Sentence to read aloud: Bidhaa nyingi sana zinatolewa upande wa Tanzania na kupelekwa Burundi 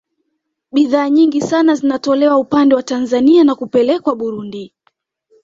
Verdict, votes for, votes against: accepted, 2, 0